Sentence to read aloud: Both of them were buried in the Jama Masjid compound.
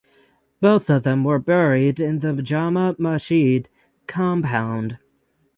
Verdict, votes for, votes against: accepted, 6, 0